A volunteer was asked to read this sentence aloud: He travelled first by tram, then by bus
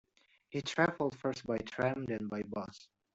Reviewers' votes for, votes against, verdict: 0, 2, rejected